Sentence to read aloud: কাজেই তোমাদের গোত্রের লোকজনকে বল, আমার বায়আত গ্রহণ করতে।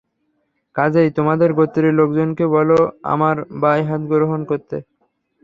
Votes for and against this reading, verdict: 0, 3, rejected